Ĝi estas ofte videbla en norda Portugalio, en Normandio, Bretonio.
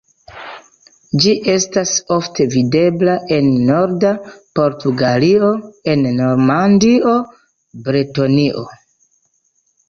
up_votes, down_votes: 2, 0